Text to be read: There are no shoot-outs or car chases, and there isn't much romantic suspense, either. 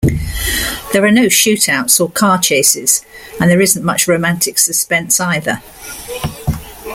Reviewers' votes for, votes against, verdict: 2, 0, accepted